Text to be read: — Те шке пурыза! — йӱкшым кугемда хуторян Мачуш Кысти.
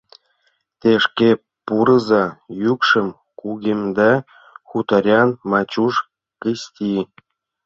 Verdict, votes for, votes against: rejected, 0, 2